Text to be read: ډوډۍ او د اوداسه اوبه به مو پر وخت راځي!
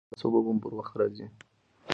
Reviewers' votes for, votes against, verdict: 1, 2, rejected